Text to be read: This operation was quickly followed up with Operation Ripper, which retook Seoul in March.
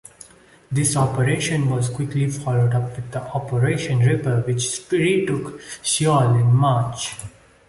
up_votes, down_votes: 2, 0